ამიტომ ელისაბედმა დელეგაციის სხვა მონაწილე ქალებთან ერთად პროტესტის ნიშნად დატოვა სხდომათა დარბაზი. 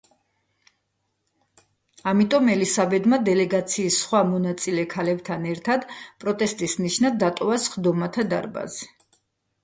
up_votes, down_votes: 2, 0